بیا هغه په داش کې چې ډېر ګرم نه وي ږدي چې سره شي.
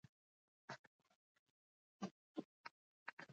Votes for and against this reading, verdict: 1, 2, rejected